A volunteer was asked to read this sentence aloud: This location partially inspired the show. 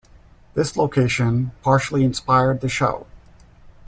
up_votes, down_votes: 2, 0